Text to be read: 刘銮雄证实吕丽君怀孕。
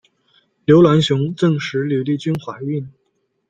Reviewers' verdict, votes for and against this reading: accepted, 2, 0